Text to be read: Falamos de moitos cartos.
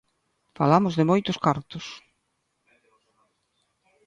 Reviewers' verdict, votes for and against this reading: accepted, 2, 0